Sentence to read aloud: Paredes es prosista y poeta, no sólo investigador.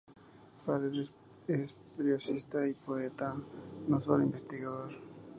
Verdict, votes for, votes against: accepted, 2, 0